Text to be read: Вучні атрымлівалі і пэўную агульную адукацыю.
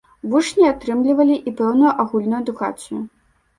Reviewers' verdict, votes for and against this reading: accepted, 2, 0